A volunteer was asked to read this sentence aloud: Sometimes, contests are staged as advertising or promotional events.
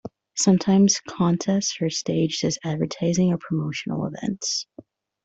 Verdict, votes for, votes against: accepted, 2, 0